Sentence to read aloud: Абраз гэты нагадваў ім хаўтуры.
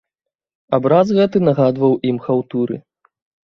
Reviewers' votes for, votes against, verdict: 2, 0, accepted